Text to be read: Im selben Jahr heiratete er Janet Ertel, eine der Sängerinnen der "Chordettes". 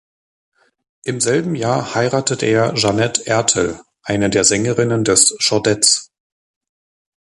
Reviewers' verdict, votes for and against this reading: rejected, 1, 2